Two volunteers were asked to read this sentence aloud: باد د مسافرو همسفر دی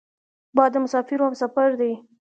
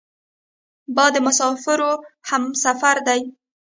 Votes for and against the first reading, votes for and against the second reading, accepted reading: 2, 0, 1, 2, first